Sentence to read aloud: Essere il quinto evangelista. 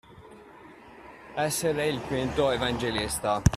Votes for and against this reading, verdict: 0, 2, rejected